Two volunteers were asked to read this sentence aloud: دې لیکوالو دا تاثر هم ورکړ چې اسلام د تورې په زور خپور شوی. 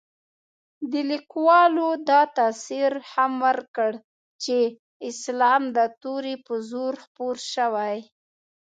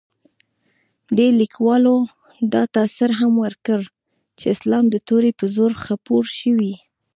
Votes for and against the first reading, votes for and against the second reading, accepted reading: 2, 0, 1, 2, first